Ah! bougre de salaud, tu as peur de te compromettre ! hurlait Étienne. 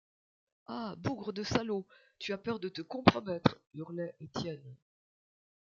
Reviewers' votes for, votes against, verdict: 1, 2, rejected